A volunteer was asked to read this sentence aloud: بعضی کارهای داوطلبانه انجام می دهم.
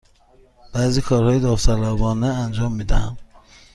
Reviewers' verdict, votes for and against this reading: accepted, 2, 0